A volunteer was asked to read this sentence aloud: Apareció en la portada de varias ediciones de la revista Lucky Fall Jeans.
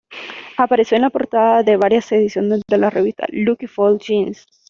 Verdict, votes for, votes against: accepted, 2, 1